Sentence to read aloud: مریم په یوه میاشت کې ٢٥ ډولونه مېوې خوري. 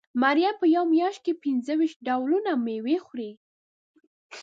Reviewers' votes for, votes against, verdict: 0, 2, rejected